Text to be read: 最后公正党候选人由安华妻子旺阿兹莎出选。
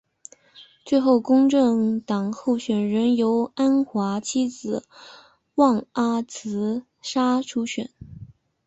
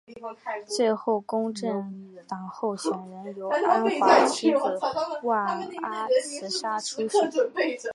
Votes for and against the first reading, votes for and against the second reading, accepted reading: 2, 1, 1, 2, first